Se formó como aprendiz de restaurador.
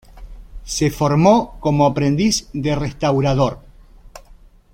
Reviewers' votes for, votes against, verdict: 2, 0, accepted